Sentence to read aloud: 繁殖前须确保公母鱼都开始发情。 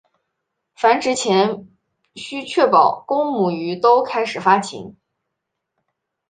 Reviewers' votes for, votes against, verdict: 2, 0, accepted